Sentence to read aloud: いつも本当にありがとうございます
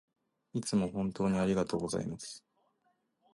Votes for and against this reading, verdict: 1, 2, rejected